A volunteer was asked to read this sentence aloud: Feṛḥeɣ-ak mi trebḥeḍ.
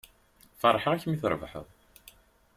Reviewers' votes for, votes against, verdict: 2, 0, accepted